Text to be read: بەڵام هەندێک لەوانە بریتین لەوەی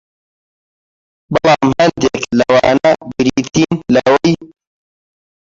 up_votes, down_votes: 0, 2